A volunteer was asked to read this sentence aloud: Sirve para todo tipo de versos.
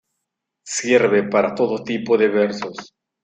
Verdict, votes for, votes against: rejected, 0, 2